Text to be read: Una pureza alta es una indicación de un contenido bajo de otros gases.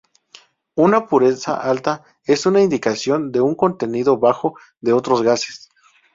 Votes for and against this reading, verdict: 0, 2, rejected